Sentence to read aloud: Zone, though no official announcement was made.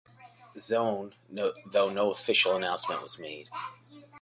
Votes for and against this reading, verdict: 0, 2, rejected